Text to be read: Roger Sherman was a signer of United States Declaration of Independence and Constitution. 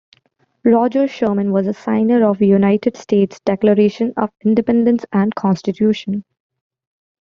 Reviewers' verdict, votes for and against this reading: accepted, 2, 0